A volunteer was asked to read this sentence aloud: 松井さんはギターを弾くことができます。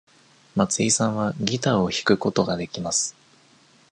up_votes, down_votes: 2, 0